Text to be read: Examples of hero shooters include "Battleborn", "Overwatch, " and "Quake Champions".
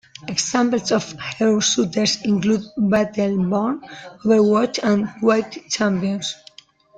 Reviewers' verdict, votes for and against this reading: rejected, 1, 2